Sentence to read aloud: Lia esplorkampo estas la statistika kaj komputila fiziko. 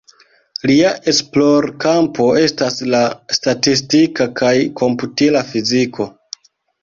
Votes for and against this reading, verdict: 2, 1, accepted